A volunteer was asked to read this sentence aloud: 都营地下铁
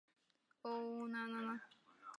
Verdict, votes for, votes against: rejected, 0, 2